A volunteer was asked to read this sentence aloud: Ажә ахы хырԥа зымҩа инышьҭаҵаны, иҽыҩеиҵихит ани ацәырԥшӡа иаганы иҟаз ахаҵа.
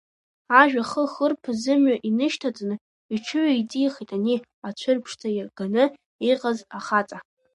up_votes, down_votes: 1, 2